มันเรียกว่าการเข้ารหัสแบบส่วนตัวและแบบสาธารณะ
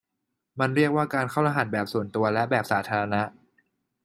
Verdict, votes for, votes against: accepted, 2, 0